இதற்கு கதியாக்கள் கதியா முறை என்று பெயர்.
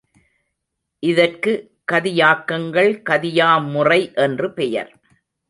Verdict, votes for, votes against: rejected, 1, 2